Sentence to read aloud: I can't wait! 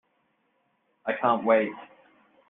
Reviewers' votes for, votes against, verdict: 2, 0, accepted